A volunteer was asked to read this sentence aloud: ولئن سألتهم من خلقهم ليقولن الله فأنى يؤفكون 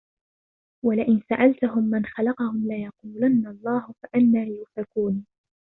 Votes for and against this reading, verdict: 0, 2, rejected